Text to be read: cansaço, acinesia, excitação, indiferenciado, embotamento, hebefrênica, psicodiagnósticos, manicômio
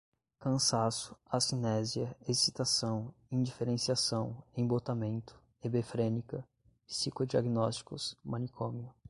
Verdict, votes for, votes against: rejected, 1, 2